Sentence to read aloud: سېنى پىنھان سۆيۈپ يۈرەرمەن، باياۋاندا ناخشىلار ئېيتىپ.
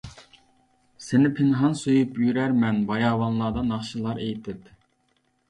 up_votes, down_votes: 1, 2